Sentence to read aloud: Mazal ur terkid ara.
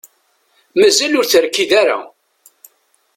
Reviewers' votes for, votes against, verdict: 2, 0, accepted